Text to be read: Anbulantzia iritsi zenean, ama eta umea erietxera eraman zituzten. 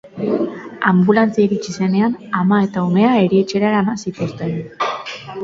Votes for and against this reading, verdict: 2, 0, accepted